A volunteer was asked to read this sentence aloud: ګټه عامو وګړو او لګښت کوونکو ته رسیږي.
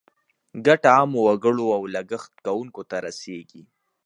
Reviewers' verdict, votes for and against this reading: accepted, 3, 0